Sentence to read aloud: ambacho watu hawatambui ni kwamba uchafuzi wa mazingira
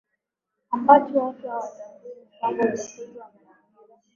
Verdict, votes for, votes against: rejected, 0, 2